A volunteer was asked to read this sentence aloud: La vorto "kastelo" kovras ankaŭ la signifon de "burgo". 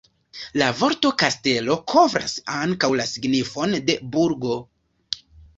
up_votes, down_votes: 2, 0